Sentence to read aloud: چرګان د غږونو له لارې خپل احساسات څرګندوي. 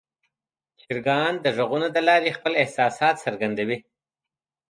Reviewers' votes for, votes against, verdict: 2, 0, accepted